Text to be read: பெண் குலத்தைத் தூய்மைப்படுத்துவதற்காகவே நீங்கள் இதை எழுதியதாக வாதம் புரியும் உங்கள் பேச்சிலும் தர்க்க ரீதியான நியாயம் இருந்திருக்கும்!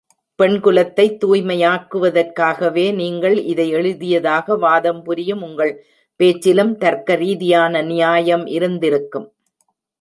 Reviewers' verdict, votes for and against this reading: rejected, 0, 2